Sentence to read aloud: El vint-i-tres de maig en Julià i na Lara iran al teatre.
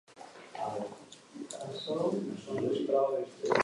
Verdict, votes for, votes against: accepted, 2, 1